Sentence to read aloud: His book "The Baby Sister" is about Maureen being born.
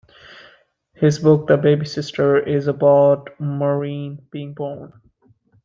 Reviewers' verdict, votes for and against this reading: accepted, 2, 0